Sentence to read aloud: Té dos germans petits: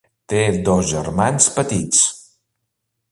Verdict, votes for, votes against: accepted, 3, 0